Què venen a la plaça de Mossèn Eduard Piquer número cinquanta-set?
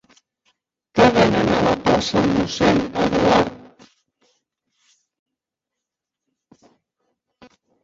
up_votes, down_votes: 0, 2